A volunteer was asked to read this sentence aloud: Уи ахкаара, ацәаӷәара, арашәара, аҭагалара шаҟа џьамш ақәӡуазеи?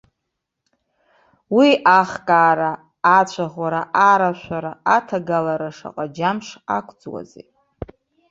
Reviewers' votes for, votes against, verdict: 0, 2, rejected